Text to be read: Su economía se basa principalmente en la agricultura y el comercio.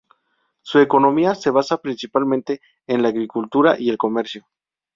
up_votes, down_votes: 2, 0